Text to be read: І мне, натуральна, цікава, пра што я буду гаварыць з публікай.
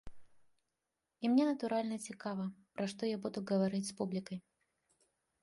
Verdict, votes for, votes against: rejected, 1, 2